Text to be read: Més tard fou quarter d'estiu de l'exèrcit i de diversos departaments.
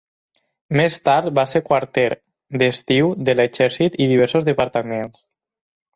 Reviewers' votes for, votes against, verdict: 0, 4, rejected